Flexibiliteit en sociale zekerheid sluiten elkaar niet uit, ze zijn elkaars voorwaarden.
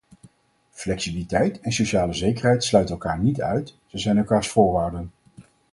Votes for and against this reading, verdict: 2, 2, rejected